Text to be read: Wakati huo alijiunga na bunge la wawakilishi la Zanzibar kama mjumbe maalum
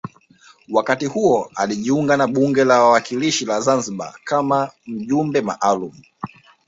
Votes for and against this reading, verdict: 2, 1, accepted